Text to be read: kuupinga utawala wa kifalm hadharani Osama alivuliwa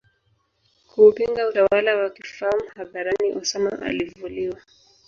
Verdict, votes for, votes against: accepted, 2, 1